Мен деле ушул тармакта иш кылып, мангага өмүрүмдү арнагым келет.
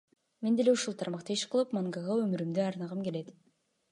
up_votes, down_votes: 2, 1